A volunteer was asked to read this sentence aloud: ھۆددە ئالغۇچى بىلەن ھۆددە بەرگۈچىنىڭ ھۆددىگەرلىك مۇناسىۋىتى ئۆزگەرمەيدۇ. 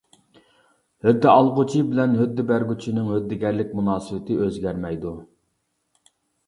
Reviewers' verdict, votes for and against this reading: accepted, 2, 0